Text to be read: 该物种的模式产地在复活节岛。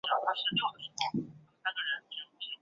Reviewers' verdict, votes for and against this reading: rejected, 0, 3